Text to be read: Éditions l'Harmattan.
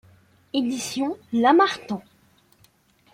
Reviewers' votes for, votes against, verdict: 2, 0, accepted